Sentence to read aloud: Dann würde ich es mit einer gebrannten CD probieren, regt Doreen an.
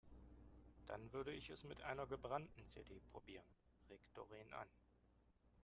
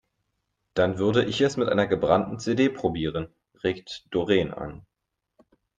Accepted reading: second